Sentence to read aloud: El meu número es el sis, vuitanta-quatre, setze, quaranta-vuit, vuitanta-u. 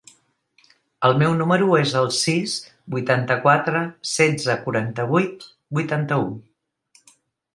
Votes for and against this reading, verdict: 2, 0, accepted